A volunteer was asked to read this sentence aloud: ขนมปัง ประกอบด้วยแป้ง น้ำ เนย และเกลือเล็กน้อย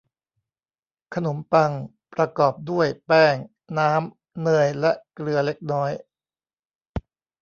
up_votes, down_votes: 1, 2